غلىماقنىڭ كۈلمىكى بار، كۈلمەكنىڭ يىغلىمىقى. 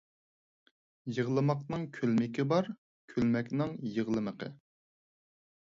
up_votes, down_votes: 2, 4